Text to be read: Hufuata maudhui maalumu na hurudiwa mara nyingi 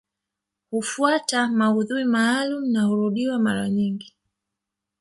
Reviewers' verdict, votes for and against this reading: rejected, 1, 2